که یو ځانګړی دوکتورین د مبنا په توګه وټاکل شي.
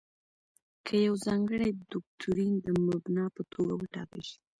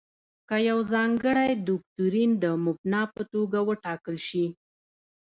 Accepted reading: second